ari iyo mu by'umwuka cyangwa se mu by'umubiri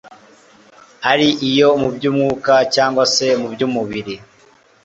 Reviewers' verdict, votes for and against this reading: accepted, 2, 0